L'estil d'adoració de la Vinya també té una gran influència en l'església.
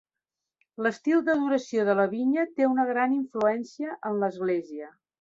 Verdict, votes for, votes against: rejected, 0, 2